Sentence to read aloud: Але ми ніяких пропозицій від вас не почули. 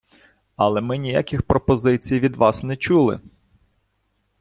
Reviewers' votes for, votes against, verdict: 1, 2, rejected